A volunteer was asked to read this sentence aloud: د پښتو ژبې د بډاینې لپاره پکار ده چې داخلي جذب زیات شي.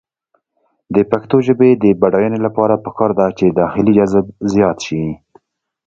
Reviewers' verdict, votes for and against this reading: accepted, 2, 0